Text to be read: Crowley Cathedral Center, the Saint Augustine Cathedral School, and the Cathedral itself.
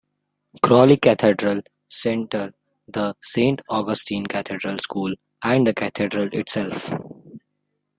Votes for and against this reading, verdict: 2, 0, accepted